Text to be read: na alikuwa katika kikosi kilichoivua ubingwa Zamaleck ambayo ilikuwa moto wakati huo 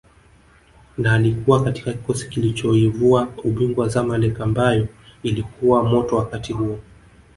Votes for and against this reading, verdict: 3, 1, accepted